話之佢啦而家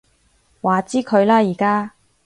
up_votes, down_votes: 2, 0